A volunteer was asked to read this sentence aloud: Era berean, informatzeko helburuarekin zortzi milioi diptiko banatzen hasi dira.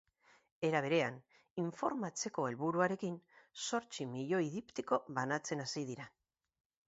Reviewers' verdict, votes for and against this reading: accepted, 4, 0